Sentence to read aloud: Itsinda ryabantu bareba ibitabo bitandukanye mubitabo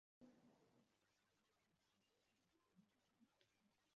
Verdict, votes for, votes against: rejected, 1, 2